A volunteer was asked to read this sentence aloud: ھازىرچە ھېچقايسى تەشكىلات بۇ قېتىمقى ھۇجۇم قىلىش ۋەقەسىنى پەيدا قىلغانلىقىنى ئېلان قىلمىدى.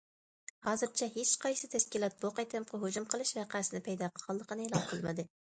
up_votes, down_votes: 0, 2